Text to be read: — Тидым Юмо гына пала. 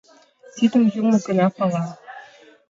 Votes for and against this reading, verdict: 2, 0, accepted